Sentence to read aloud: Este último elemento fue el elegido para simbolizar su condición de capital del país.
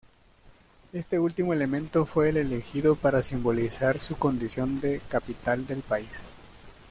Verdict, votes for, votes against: accepted, 2, 0